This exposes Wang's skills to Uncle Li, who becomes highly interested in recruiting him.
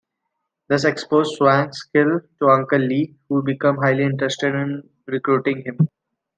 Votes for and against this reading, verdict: 2, 1, accepted